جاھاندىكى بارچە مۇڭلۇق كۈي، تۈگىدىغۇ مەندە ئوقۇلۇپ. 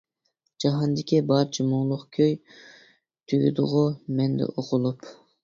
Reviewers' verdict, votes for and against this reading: accepted, 2, 0